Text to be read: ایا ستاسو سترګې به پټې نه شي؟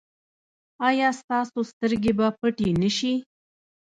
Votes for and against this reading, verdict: 0, 2, rejected